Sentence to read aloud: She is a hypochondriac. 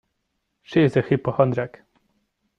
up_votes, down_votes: 1, 2